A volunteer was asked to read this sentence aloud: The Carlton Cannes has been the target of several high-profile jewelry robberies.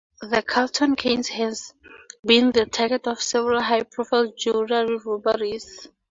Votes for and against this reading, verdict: 2, 0, accepted